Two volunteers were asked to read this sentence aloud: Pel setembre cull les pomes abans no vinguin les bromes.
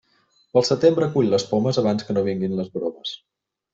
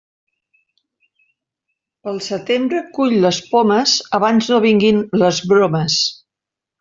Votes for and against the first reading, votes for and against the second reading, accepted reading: 1, 2, 3, 1, second